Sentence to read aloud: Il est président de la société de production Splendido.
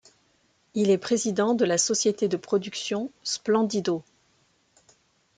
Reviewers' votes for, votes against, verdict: 2, 0, accepted